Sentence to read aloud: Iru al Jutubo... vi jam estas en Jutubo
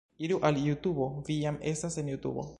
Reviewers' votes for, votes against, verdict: 2, 0, accepted